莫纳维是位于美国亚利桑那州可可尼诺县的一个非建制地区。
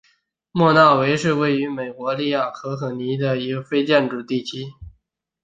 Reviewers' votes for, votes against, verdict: 3, 0, accepted